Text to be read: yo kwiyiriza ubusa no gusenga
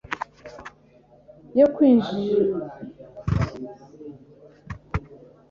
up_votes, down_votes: 0, 2